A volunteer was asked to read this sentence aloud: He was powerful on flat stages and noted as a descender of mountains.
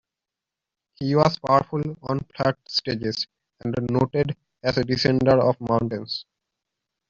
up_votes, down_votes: 0, 2